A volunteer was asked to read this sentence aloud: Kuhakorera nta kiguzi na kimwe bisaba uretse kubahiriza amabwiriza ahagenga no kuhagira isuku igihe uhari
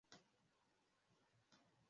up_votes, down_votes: 0, 2